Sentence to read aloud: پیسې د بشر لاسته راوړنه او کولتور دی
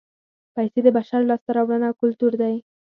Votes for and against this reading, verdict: 0, 4, rejected